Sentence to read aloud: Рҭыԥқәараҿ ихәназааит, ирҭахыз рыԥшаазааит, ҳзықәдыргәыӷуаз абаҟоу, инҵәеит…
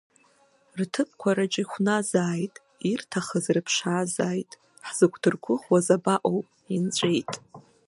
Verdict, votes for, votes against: rejected, 1, 2